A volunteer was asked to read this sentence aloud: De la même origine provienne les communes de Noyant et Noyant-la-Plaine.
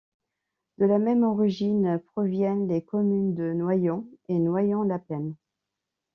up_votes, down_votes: 2, 0